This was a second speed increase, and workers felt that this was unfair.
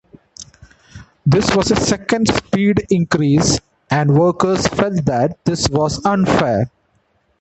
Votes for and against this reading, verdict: 2, 0, accepted